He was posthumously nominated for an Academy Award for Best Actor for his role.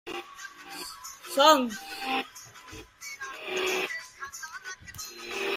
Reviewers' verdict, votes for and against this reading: rejected, 0, 2